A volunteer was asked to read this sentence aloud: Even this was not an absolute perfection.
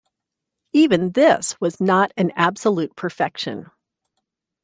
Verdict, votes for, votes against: accepted, 2, 0